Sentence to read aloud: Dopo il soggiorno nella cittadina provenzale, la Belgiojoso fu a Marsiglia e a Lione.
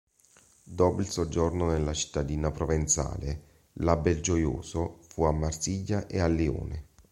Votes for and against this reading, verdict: 2, 0, accepted